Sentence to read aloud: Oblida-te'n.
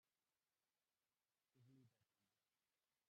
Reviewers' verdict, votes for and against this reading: rejected, 0, 2